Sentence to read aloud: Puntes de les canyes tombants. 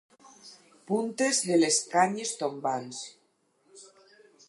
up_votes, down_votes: 4, 0